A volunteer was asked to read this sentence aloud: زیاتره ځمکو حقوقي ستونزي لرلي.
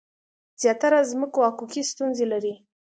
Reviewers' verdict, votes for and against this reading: accepted, 2, 0